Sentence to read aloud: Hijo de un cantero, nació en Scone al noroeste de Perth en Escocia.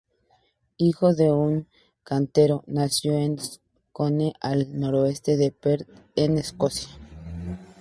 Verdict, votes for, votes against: accepted, 2, 0